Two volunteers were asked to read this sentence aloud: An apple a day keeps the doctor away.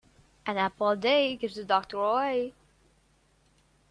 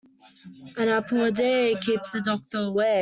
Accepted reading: second